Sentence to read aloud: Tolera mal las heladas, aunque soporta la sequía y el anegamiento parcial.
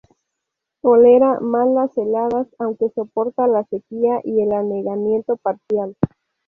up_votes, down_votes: 0, 2